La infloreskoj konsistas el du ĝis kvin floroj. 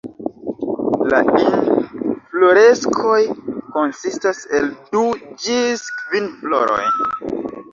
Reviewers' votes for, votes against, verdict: 2, 1, accepted